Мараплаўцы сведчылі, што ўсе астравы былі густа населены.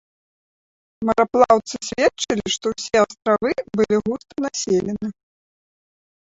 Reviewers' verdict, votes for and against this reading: rejected, 0, 2